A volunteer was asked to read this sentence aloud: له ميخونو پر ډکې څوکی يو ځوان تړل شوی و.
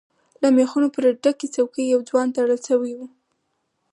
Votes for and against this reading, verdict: 4, 2, accepted